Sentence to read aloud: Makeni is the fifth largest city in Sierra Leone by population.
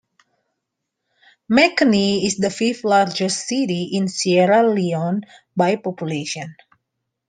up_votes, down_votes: 2, 0